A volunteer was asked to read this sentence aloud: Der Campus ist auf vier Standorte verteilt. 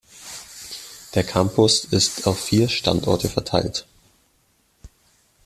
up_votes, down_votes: 2, 0